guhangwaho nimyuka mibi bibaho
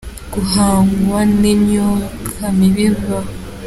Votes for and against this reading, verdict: 0, 2, rejected